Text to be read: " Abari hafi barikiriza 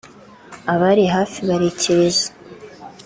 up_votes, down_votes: 2, 0